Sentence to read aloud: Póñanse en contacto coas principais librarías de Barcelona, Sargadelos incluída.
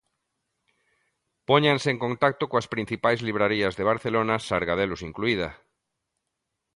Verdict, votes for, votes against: accepted, 2, 0